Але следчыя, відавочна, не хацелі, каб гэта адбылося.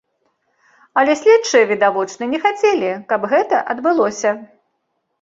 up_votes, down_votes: 3, 0